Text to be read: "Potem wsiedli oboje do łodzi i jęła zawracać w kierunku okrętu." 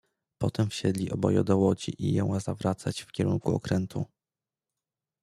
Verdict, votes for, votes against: accepted, 2, 0